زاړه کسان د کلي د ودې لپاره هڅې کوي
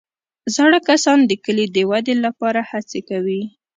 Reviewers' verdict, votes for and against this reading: accepted, 2, 0